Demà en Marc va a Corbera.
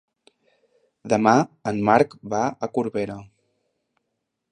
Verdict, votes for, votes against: accepted, 3, 0